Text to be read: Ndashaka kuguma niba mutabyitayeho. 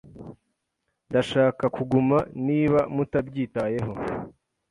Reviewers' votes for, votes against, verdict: 2, 0, accepted